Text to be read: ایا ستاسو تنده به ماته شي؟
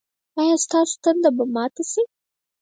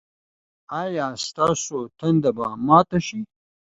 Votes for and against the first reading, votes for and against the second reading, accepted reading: 2, 4, 2, 0, second